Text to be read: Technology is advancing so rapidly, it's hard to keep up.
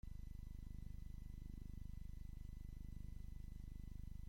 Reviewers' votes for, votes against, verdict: 0, 2, rejected